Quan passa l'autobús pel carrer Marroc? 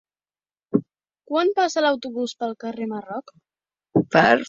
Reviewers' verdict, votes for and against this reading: rejected, 0, 2